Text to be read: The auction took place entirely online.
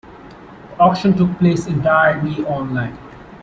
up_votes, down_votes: 2, 0